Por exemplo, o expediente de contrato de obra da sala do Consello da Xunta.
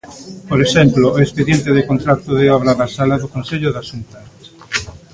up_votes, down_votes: 0, 2